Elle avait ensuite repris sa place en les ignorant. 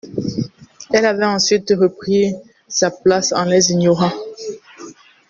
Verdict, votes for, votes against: accepted, 2, 0